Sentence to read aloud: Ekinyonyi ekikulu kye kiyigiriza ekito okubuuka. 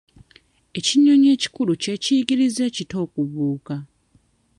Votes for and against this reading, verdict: 2, 0, accepted